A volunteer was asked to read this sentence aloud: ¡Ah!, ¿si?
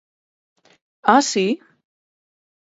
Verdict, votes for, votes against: accepted, 4, 2